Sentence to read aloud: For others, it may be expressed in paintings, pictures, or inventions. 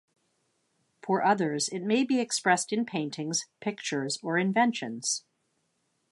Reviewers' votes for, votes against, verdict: 2, 0, accepted